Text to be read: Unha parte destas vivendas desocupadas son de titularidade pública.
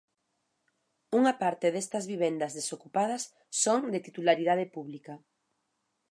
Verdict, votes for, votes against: accepted, 2, 0